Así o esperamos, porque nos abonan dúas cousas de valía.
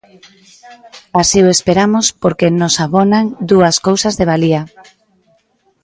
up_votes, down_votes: 0, 2